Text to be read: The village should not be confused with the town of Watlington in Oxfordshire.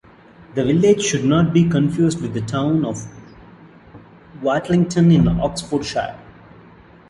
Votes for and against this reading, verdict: 0, 2, rejected